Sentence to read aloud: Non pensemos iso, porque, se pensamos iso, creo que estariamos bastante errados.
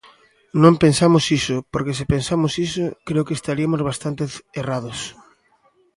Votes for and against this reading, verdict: 0, 2, rejected